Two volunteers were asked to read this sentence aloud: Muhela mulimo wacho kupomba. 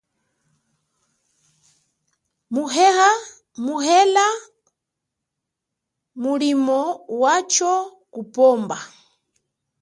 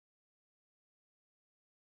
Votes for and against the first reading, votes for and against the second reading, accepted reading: 2, 0, 2, 5, first